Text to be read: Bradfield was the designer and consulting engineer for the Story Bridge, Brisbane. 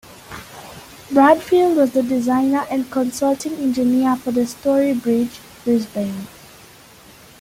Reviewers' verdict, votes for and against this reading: accepted, 2, 0